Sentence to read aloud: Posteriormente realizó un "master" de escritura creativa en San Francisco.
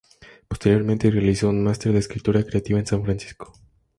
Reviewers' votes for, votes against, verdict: 2, 0, accepted